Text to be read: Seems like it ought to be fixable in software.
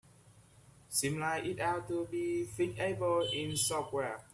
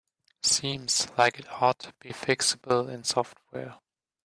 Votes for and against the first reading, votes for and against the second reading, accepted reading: 0, 2, 2, 0, second